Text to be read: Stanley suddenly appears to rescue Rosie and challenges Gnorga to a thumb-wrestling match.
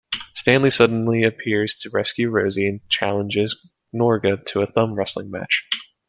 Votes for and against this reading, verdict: 2, 0, accepted